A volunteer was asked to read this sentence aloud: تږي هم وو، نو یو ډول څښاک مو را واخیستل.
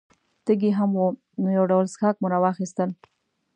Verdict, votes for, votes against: accepted, 2, 0